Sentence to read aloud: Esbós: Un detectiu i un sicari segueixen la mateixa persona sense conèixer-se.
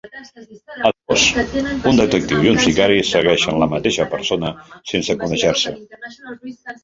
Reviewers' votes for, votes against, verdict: 1, 2, rejected